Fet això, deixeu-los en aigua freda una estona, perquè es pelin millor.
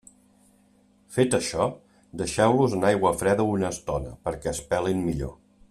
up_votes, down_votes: 2, 0